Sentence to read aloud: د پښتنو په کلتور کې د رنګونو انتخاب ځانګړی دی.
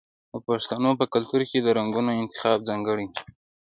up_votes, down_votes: 2, 0